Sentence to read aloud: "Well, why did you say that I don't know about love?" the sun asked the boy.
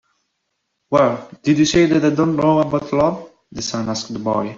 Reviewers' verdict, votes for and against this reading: rejected, 0, 2